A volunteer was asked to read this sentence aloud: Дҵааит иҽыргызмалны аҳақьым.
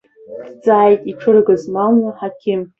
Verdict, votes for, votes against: rejected, 0, 2